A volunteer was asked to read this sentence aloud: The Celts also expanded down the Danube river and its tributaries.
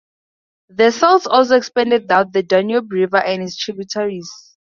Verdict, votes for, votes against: accepted, 4, 0